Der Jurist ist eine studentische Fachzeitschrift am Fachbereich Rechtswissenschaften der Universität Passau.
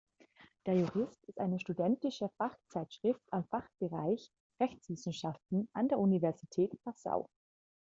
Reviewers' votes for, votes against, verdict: 0, 2, rejected